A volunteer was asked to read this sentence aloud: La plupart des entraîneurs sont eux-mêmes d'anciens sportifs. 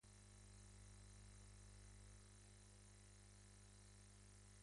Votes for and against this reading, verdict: 0, 2, rejected